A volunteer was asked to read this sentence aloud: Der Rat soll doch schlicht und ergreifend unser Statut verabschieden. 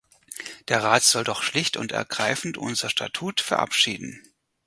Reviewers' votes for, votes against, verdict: 4, 0, accepted